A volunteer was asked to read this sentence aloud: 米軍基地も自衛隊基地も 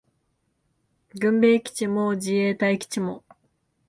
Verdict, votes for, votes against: rejected, 1, 2